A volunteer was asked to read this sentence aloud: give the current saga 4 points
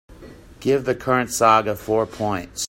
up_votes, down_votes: 0, 2